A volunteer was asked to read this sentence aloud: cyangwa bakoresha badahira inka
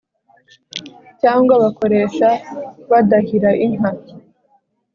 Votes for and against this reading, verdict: 2, 0, accepted